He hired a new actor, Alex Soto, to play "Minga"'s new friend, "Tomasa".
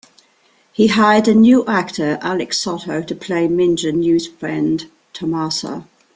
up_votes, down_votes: 1, 2